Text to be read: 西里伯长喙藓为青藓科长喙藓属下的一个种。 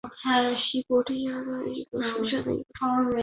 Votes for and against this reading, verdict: 1, 3, rejected